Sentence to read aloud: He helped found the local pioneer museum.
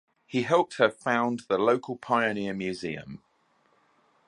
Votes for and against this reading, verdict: 1, 2, rejected